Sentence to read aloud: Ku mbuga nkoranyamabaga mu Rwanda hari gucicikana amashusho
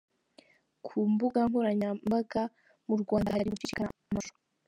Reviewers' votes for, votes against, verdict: 0, 2, rejected